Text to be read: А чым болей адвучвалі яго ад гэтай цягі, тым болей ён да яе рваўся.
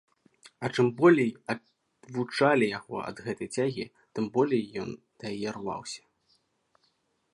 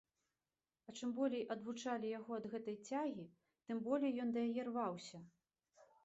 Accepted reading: second